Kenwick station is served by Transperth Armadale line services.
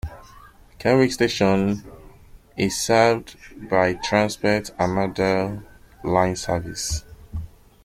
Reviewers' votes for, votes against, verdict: 0, 2, rejected